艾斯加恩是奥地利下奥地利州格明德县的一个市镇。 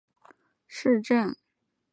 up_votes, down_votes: 1, 2